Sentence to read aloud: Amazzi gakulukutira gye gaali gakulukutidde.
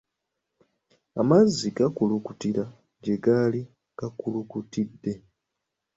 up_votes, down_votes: 2, 0